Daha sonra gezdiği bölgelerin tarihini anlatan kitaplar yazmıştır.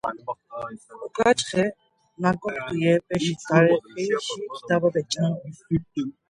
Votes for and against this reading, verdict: 0, 2, rejected